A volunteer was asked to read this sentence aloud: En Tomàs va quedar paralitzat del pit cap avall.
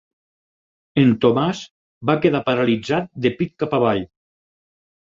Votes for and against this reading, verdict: 2, 4, rejected